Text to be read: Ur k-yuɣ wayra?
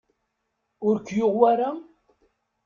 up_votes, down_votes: 2, 0